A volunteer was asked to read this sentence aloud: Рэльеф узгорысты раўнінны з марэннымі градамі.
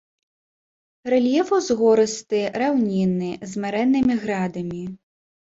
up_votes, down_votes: 2, 0